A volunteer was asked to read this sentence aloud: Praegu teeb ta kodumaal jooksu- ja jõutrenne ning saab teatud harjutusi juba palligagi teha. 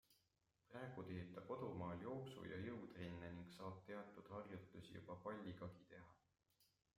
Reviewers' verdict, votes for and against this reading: accepted, 2, 1